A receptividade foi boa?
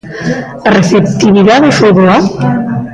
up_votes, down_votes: 1, 2